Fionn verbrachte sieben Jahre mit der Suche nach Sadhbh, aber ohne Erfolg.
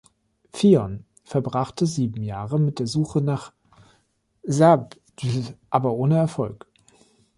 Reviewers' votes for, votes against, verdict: 0, 2, rejected